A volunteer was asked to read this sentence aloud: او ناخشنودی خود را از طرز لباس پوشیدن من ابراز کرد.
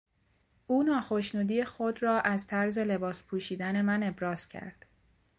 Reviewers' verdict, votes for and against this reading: accepted, 2, 0